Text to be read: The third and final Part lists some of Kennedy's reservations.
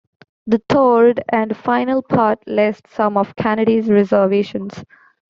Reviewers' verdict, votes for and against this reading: rejected, 1, 2